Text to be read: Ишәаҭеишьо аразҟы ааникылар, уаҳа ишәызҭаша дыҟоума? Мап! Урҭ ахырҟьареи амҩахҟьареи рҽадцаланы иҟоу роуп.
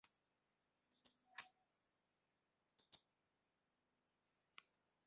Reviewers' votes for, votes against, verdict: 0, 2, rejected